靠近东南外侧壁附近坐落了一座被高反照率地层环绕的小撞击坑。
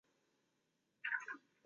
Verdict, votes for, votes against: rejected, 1, 2